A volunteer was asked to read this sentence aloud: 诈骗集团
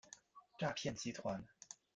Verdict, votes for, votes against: accepted, 2, 0